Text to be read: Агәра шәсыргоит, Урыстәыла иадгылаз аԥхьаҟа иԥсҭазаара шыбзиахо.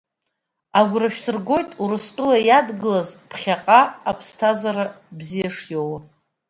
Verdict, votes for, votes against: accepted, 2, 0